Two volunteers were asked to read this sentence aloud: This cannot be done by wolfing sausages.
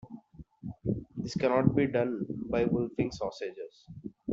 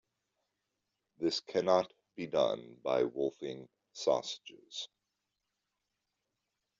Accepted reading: second